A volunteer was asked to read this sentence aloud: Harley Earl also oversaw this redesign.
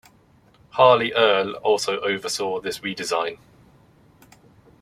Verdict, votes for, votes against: rejected, 1, 2